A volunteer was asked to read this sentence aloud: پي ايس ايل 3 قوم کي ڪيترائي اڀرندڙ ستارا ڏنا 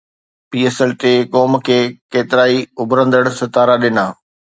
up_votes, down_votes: 0, 2